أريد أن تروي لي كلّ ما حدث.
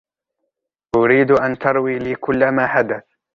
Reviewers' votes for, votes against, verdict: 2, 0, accepted